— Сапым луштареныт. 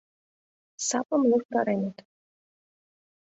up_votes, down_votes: 0, 2